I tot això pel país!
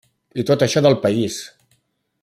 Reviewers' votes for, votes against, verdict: 1, 2, rejected